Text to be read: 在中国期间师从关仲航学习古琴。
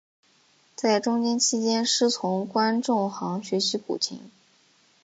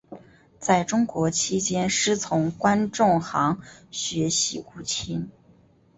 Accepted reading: second